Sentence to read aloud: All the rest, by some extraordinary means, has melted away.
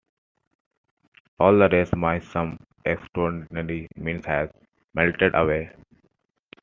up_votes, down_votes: 1, 2